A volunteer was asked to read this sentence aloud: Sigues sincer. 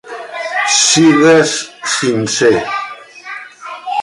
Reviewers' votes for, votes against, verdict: 2, 1, accepted